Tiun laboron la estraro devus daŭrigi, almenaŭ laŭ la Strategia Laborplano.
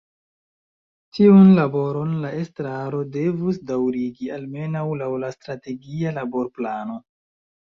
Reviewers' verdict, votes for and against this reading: rejected, 1, 2